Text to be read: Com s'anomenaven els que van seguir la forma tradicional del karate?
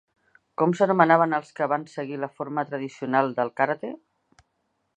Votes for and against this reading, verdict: 2, 1, accepted